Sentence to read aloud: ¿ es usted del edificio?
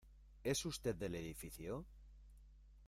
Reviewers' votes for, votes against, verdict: 2, 0, accepted